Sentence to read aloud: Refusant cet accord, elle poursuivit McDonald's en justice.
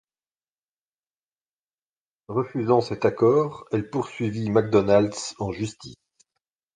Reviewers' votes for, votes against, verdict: 1, 2, rejected